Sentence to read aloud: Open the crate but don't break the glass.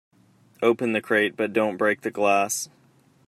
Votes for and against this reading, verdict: 2, 0, accepted